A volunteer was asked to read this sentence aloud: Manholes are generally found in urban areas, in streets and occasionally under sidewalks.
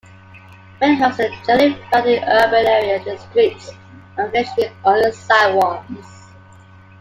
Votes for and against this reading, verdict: 2, 0, accepted